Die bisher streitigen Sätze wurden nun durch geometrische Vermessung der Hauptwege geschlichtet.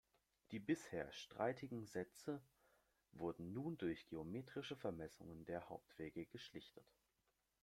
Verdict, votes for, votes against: accepted, 2, 0